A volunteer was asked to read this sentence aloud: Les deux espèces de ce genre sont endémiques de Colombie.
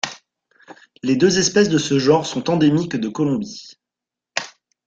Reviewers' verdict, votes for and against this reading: accepted, 2, 1